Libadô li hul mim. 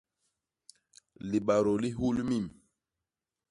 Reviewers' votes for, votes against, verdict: 2, 0, accepted